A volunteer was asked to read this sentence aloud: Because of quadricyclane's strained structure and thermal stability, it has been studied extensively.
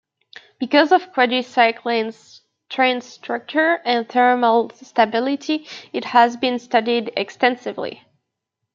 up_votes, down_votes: 2, 1